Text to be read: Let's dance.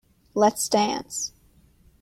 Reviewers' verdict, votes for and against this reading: accepted, 2, 0